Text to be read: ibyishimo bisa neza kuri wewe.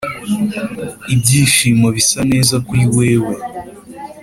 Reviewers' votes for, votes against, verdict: 2, 0, accepted